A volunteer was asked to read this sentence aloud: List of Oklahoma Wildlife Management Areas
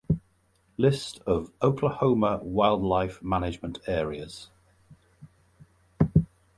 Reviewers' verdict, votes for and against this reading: accepted, 2, 0